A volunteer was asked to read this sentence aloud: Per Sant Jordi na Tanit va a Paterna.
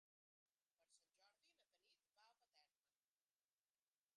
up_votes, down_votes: 0, 3